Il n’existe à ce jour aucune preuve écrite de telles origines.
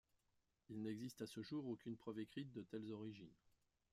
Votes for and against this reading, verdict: 1, 2, rejected